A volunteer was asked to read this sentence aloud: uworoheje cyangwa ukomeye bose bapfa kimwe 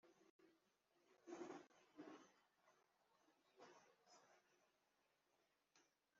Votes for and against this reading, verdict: 0, 2, rejected